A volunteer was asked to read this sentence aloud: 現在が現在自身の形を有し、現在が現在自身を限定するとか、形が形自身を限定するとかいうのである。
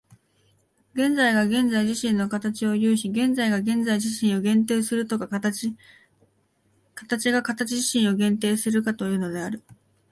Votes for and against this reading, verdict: 2, 1, accepted